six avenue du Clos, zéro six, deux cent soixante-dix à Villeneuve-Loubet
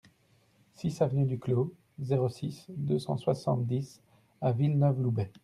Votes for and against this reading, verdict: 2, 0, accepted